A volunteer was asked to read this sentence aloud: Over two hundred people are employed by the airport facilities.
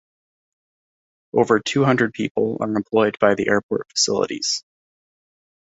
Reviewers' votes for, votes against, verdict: 2, 0, accepted